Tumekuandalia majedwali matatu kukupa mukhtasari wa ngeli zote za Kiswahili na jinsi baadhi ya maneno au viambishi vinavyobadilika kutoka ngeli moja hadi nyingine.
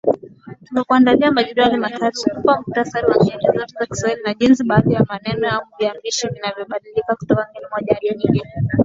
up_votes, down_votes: 4, 9